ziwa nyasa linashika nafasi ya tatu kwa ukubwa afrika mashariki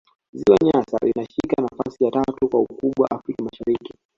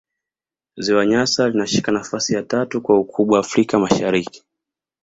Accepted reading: second